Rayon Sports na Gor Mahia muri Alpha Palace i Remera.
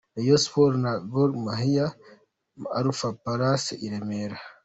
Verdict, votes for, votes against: accepted, 2, 0